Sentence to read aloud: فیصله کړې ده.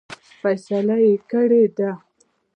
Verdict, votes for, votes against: rejected, 0, 2